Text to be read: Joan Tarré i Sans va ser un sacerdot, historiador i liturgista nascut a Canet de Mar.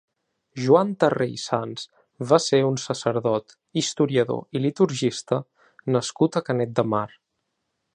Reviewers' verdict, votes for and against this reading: accepted, 2, 0